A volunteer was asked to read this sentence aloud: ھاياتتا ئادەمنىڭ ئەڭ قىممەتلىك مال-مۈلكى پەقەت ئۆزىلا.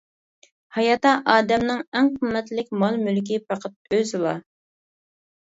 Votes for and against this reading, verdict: 0, 2, rejected